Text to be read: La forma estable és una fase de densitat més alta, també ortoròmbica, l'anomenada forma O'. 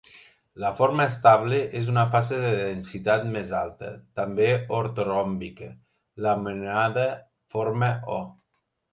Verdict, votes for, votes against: rejected, 1, 2